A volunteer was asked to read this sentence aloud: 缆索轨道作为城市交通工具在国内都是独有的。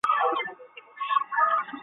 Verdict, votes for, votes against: rejected, 0, 2